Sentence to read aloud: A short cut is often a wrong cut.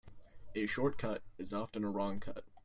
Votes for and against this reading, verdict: 2, 0, accepted